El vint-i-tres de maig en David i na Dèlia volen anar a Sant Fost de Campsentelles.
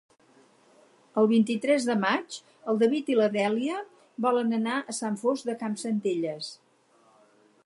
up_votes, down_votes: 2, 4